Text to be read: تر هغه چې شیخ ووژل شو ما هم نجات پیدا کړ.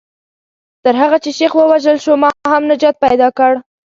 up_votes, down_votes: 2, 0